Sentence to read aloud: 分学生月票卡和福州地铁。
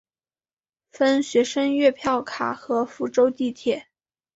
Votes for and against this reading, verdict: 2, 0, accepted